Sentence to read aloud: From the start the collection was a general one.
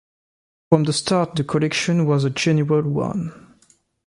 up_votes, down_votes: 2, 0